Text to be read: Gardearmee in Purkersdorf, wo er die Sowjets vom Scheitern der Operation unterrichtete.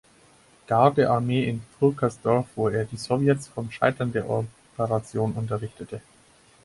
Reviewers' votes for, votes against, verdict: 2, 4, rejected